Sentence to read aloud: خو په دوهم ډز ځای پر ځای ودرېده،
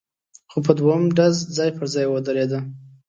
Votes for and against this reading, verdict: 2, 0, accepted